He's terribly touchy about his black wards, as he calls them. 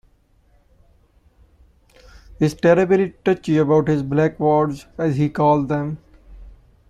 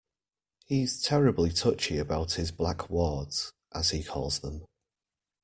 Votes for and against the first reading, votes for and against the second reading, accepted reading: 0, 2, 2, 0, second